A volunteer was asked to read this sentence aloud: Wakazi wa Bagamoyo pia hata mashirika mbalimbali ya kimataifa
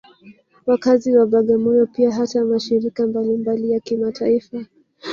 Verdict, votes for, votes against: accepted, 3, 0